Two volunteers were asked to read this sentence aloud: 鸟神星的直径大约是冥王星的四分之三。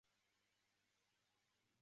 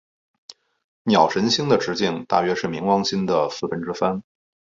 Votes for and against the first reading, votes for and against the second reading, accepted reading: 0, 2, 2, 0, second